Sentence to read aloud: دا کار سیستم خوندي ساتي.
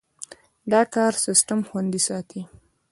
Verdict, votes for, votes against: rejected, 0, 2